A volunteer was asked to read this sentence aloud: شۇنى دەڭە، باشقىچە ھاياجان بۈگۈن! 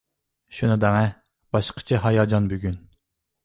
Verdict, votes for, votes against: accepted, 2, 0